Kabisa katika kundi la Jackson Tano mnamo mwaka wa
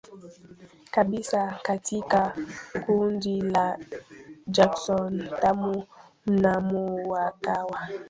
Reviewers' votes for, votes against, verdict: 1, 2, rejected